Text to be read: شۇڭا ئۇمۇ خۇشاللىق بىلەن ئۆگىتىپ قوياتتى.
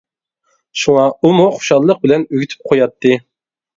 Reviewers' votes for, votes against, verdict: 2, 0, accepted